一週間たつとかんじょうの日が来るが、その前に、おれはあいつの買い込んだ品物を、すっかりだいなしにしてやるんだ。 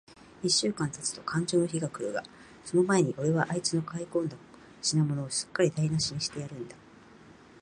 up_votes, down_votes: 2, 0